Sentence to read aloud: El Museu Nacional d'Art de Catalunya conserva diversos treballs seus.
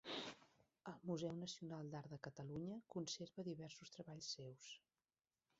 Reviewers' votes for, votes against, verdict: 1, 3, rejected